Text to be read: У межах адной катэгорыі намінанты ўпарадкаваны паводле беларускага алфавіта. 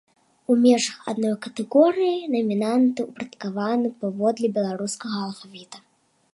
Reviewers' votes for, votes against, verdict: 2, 1, accepted